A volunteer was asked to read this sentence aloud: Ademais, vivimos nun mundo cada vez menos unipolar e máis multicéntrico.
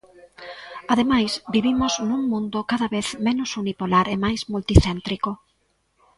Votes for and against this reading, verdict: 0, 2, rejected